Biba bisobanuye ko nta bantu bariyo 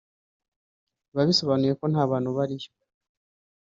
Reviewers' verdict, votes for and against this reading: rejected, 1, 2